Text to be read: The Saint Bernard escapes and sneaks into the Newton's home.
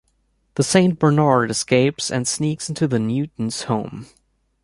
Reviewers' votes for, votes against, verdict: 2, 0, accepted